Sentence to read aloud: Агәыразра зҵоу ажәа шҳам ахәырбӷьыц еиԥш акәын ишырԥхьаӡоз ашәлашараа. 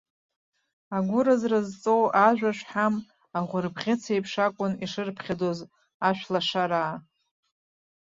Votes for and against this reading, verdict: 2, 0, accepted